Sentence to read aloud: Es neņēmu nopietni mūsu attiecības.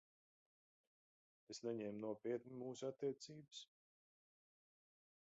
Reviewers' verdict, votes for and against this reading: rejected, 1, 2